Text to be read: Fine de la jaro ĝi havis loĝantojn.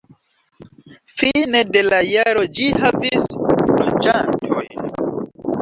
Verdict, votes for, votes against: rejected, 0, 2